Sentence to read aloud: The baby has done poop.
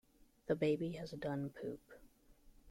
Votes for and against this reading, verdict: 2, 0, accepted